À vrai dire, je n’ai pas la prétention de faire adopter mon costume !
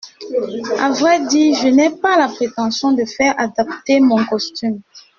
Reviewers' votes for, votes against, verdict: 1, 2, rejected